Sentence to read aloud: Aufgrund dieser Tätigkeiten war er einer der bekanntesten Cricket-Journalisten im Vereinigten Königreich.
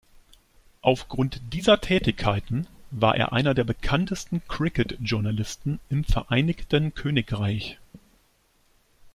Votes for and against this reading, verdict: 2, 0, accepted